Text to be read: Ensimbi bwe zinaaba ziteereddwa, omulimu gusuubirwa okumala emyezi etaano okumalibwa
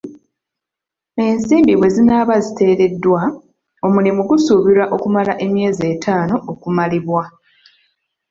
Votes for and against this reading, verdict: 3, 0, accepted